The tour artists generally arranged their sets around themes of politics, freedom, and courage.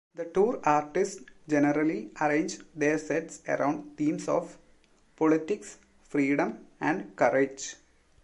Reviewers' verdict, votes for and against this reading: accepted, 3, 0